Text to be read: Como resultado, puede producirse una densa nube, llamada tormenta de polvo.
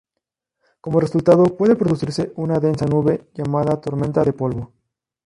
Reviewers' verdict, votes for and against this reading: rejected, 2, 2